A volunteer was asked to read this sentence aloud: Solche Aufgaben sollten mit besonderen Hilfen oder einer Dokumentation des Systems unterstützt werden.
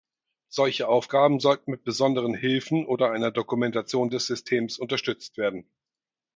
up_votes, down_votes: 4, 0